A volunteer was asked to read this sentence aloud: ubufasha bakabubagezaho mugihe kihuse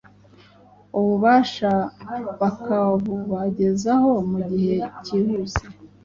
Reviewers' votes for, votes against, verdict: 1, 2, rejected